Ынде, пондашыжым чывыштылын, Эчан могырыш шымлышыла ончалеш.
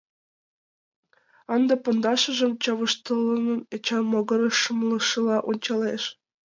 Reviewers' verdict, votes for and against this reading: rejected, 0, 2